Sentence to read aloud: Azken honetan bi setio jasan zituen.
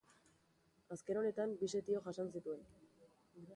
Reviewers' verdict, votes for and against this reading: accepted, 2, 1